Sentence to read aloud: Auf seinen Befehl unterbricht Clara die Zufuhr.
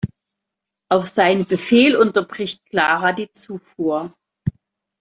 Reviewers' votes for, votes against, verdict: 2, 0, accepted